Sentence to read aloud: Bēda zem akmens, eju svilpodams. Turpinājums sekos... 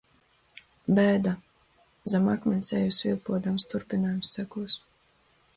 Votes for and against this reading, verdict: 2, 0, accepted